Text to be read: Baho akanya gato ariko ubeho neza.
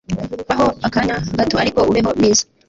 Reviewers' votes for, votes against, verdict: 1, 2, rejected